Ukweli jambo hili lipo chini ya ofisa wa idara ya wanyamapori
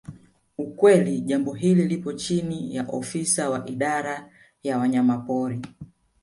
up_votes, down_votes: 1, 2